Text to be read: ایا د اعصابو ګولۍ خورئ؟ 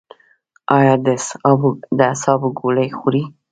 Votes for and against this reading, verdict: 0, 2, rejected